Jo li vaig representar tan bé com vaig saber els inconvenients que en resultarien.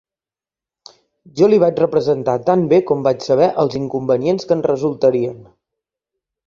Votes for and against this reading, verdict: 3, 0, accepted